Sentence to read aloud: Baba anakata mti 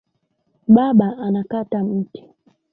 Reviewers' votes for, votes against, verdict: 3, 0, accepted